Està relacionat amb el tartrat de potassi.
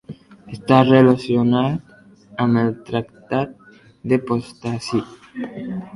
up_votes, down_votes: 0, 2